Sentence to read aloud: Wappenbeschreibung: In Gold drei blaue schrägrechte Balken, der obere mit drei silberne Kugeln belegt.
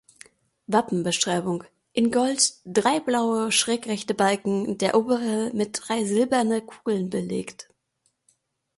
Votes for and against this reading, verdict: 2, 0, accepted